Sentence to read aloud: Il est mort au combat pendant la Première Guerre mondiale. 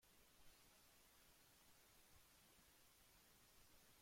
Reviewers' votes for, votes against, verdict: 1, 2, rejected